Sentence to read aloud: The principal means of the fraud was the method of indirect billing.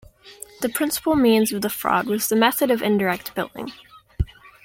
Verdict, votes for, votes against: accepted, 2, 0